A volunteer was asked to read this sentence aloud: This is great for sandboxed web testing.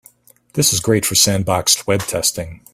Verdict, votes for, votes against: accepted, 2, 0